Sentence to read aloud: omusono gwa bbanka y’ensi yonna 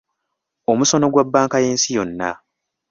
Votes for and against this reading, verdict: 2, 0, accepted